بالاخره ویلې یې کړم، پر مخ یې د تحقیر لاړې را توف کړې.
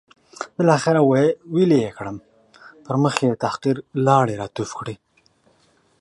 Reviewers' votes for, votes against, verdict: 2, 0, accepted